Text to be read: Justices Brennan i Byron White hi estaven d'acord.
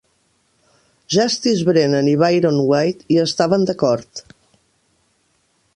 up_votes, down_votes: 1, 2